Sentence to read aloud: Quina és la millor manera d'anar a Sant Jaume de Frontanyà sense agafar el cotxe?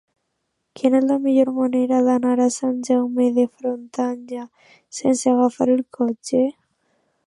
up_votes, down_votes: 2, 0